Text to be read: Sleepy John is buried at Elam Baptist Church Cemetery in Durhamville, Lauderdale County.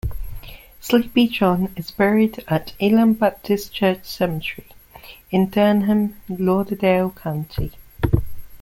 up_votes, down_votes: 0, 2